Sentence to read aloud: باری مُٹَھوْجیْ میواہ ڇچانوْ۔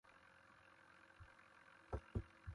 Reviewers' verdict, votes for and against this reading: rejected, 0, 2